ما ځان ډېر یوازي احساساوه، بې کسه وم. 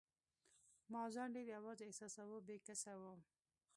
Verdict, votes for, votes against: rejected, 0, 2